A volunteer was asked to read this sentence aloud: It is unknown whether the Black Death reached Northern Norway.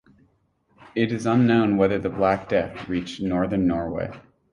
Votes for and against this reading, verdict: 6, 0, accepted